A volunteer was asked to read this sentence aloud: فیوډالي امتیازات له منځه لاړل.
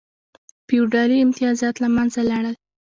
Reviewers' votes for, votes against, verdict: 0, 2, rejected